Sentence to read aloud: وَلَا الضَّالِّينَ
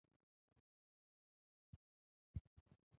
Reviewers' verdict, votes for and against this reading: rejected, 0, 2